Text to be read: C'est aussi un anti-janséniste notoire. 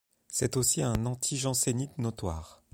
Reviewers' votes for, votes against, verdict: 1, 3, rejected